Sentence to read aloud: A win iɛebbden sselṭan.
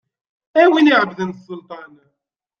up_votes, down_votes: 2, 0